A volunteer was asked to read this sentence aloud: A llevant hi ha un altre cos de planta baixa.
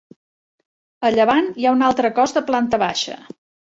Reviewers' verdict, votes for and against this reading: accepted, 2, 0